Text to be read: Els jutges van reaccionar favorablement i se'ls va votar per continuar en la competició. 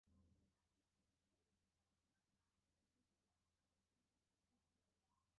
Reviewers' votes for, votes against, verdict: 0, 2, rejected